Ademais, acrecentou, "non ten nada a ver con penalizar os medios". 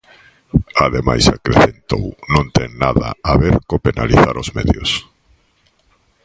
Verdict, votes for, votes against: rejected, 1, 3